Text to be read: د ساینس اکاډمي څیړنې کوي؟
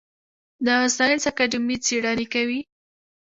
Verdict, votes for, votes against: accepted, 2, 0